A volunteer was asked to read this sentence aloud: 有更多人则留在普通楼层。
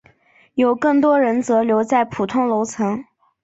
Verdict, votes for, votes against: accepted, 2, 0